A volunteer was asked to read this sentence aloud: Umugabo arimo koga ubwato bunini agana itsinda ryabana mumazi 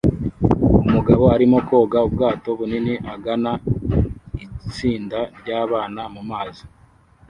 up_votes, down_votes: 0, 2